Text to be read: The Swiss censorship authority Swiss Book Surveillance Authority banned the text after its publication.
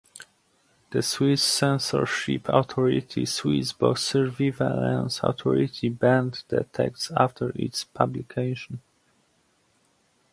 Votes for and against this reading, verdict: 0, 2, rejected